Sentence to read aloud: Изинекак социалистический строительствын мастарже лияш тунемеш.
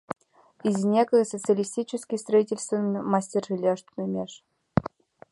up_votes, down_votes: 1, 2